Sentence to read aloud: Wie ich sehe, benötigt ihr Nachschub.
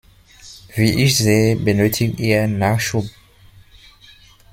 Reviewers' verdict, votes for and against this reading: accepted, 2, 0